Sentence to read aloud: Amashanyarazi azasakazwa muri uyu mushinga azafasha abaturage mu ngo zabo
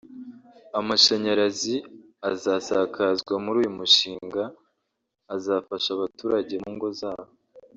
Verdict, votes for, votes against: rejected, 1, 2